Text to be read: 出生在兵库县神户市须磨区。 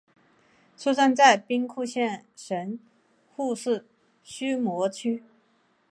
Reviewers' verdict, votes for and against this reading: accepted, 2, 0